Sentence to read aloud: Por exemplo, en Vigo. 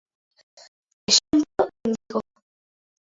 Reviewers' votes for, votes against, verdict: 0, 2, rejected